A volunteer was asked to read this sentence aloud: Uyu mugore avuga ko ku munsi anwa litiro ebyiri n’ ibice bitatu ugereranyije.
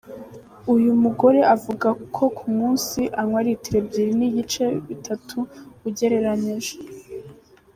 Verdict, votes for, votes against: accepted, 2, 0